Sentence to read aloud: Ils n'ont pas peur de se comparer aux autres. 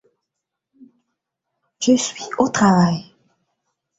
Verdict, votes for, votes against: rejected, 1, 2